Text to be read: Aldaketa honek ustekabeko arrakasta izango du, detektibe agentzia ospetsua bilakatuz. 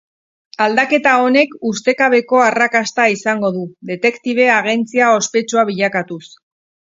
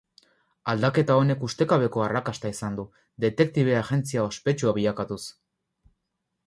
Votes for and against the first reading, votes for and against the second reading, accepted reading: 4, 0, 2, 4, first